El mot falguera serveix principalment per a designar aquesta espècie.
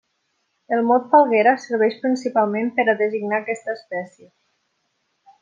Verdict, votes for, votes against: accepted, 3, 0